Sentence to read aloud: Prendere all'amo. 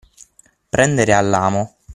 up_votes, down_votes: 6, 0